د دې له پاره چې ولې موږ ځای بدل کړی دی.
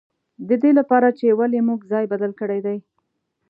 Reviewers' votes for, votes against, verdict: 2, 0, accepted